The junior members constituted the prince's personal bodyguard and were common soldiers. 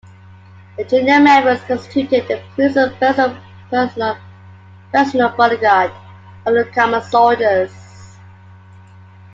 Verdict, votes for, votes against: rejected, 0, 2